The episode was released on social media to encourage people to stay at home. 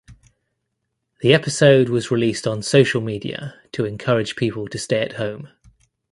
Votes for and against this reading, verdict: 1, 2, rejected